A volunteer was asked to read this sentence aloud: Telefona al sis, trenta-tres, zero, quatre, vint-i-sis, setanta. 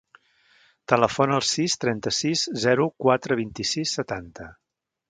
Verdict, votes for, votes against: rejected, 1, 2